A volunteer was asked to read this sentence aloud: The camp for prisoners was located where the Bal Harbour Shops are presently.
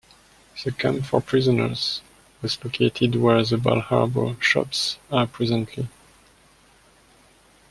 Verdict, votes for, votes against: accepted, 2, 0